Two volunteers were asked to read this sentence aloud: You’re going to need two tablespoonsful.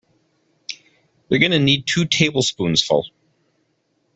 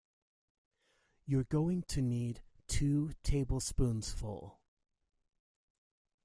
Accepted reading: second